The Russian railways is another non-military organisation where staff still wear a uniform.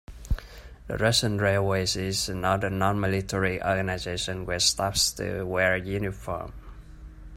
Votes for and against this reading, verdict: 1, 2, rejected